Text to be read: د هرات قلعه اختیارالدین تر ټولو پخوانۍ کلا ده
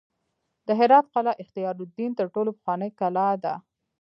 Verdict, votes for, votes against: rejected, 0, 2